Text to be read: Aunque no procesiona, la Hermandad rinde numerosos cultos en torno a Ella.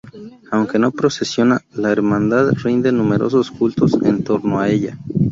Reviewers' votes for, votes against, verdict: 0, 2, rejected